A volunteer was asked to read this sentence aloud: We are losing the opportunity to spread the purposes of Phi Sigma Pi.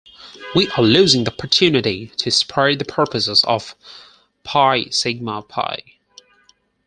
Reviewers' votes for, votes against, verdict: 0, 4, rejected